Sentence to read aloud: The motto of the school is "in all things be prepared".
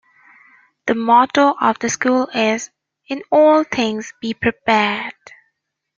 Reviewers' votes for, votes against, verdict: 2, 0, accepted